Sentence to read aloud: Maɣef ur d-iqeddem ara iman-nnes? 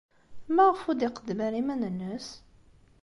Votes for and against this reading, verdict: 2, 0, accepted